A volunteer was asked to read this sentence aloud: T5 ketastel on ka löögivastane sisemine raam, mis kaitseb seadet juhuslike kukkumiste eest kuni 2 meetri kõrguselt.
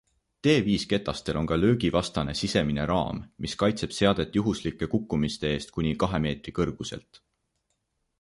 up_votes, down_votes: 0, 2